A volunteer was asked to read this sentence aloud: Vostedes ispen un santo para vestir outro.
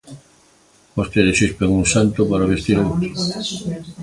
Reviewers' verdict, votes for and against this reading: rejected, 0, 4